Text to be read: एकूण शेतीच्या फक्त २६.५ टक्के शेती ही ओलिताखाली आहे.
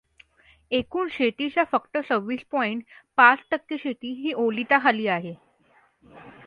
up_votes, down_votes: 0, 2